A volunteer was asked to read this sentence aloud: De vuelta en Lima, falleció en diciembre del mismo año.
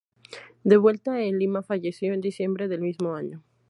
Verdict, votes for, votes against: accepted, 2, 0